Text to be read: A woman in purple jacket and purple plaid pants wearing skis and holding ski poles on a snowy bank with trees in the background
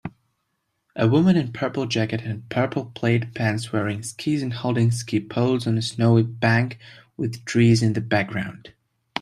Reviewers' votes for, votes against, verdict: 2, 0, accepted